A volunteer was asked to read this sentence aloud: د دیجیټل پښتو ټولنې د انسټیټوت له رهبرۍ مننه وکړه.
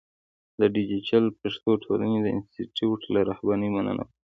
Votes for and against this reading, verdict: 2, 0, accepted